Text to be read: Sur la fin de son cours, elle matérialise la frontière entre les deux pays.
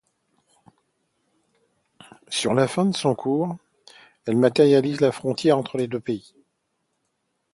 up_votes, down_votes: 2, 0